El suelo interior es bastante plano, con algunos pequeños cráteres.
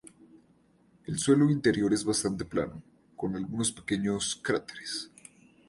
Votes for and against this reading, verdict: 0, 2, rejected